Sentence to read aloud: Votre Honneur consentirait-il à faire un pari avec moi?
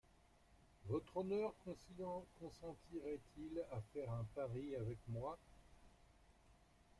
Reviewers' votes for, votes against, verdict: 0, 2, rejected